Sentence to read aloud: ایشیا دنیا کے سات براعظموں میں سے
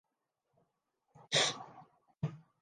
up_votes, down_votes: 0, 4